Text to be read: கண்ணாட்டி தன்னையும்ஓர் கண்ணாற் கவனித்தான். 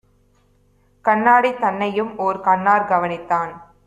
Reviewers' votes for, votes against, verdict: 1, 2, rejected